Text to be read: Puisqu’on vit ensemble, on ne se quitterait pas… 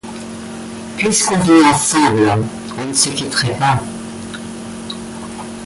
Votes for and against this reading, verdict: 2, 0, accepted